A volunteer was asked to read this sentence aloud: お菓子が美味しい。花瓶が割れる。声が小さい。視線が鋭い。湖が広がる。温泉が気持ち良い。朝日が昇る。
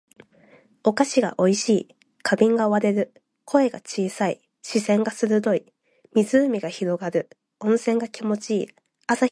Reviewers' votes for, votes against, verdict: 0, 2, rejected